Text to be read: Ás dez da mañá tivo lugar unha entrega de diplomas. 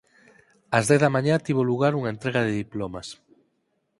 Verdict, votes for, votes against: accepted, 4, 0